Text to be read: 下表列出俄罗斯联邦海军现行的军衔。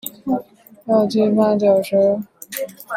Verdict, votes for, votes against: rejected, 0, 2